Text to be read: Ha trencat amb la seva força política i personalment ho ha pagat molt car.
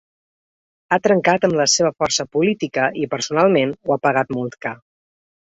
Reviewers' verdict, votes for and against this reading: accepted, 2, 0